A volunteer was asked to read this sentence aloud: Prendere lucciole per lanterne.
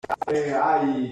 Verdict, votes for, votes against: rejected, 0, 2